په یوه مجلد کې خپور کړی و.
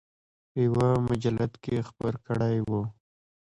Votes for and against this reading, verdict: 0, 2, rejected